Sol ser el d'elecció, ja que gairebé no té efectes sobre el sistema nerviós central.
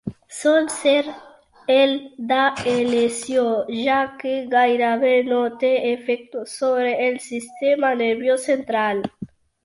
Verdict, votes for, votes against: rejected, 1, 2